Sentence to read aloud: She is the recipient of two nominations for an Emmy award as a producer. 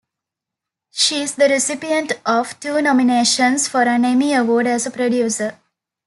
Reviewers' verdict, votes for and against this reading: rejected, 1, 2